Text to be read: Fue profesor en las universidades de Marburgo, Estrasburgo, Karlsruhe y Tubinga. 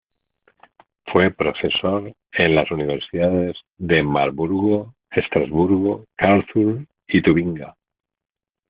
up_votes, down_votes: 0, 2